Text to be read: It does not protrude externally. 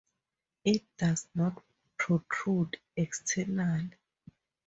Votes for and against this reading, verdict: 4, 0, accepted